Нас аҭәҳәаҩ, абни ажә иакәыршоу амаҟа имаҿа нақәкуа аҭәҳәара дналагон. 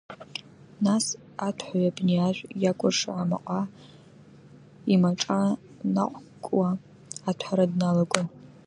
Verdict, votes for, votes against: rejected, 1, 2